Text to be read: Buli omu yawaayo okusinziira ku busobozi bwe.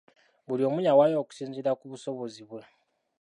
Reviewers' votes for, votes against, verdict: 2, 0, accepted